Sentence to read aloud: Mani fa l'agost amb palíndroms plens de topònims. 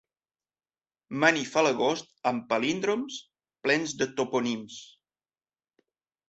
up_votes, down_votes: 0, 2